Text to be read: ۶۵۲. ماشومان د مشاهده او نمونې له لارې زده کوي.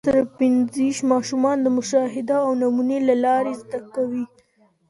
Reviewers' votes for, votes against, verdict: 0, 2, rejected